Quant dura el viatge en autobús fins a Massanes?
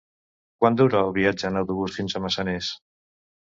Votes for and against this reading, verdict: 0, 2, rejected